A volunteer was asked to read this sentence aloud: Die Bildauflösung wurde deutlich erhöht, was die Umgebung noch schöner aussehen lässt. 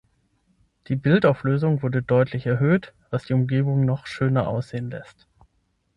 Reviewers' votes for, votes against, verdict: 6, 0, accepted